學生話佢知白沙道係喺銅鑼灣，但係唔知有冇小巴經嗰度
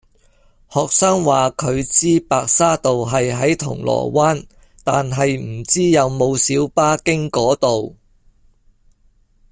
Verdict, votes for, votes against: accepted, 2, 0